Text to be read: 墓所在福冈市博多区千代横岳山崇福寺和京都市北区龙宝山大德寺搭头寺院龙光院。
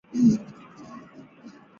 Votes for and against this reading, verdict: 0, 4, rejected